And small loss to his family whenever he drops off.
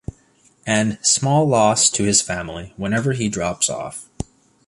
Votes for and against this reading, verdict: 2, 0, accepted